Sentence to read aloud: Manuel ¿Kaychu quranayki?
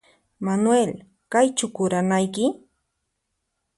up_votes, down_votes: 2, 4